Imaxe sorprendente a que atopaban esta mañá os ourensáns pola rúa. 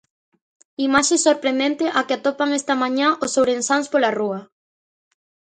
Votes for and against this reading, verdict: 0, 2, rejected